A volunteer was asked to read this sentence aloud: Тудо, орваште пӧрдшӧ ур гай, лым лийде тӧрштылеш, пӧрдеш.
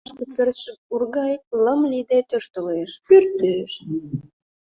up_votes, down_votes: 1, 2